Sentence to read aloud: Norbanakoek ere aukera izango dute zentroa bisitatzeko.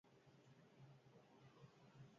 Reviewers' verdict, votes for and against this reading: rejected, 0, 6